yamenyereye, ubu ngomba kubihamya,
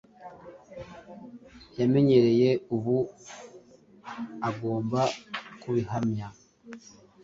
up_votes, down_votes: 2, 1